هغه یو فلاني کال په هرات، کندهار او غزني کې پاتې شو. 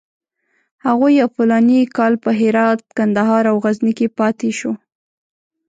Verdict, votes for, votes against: rejected, 1, 2